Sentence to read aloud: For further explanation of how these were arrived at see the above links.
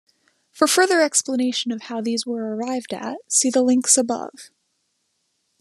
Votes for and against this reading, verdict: 0, 3, rejected